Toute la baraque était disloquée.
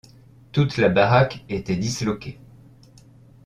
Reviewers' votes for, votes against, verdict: 2, 0, accepted